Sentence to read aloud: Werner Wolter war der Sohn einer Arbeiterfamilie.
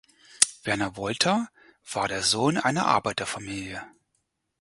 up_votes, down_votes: 4, 0